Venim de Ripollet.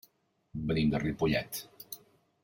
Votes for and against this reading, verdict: 2, 0, accepted